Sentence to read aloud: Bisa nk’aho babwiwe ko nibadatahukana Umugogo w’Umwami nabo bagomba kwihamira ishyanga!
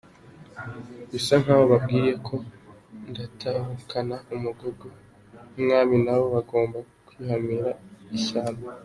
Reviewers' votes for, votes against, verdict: 1, 2, rejected